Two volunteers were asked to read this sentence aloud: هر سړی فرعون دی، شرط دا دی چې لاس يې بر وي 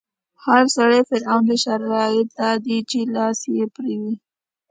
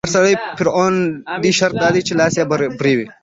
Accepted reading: first